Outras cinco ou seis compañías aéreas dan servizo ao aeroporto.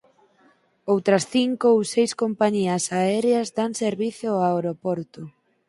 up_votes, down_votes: 2, 4